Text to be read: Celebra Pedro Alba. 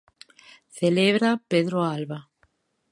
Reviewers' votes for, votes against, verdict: 2, 0, accepted